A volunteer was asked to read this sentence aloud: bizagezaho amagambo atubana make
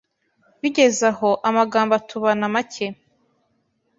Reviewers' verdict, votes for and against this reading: rejected, 0, 2